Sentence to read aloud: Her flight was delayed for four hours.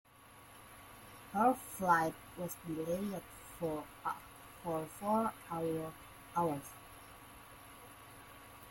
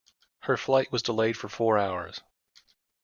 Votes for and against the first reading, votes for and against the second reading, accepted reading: 0, 2, 2, 0, second